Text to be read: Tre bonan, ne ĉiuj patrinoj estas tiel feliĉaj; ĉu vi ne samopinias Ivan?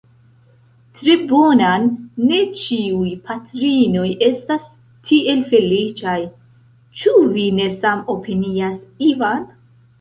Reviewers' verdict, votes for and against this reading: rejected, 0, 2